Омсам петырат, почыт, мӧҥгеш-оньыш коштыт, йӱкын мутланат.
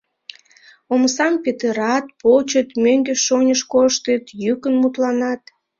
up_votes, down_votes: 2, 1